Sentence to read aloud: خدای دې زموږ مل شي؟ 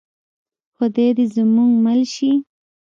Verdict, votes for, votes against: accepted, 2, 0